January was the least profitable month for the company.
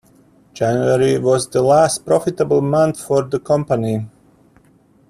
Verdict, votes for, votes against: rejected, 0, 2